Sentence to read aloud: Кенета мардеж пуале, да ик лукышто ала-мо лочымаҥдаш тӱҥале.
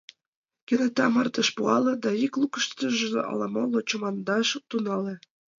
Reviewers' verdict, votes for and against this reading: rejected, 1, 2